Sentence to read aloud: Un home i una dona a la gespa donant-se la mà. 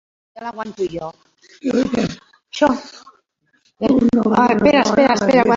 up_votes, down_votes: 0, 2